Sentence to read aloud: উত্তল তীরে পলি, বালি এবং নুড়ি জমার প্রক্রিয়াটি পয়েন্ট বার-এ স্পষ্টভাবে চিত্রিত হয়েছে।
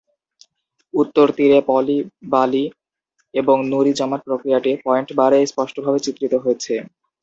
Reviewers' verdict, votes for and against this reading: accepted, 2, 0